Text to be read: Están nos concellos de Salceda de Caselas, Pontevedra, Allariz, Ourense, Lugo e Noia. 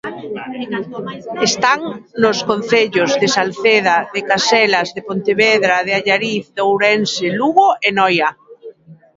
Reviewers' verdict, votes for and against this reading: rejected, 0, 2